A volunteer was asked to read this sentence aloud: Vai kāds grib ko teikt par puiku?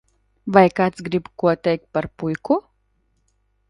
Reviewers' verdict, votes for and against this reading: accepted, 2, 0